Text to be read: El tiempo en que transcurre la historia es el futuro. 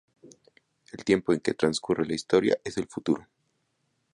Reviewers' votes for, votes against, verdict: 2, 0, accepted